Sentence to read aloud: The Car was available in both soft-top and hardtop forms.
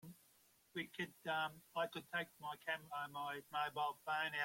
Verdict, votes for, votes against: rejected, 0, 2